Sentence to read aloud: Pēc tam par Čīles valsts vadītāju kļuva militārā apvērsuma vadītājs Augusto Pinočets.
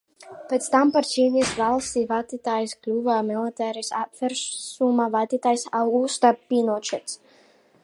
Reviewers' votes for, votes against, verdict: 1, 2, rejected